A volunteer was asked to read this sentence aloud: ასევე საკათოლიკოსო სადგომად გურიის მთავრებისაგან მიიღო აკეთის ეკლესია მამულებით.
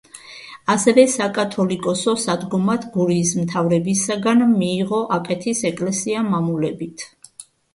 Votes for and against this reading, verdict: 2, 1, accepted